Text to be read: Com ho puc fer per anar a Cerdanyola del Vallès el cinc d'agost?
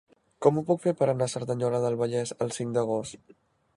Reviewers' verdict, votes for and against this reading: accepted, 2, 0